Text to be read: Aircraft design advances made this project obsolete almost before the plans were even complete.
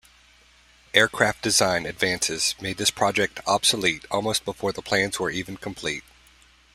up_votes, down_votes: 2, 0